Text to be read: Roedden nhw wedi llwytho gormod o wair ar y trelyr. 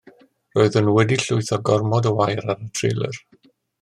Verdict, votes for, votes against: accepted, 2, 0